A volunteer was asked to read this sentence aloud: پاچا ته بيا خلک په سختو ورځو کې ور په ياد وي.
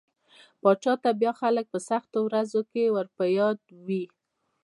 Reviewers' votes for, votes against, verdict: 2, 0, accepted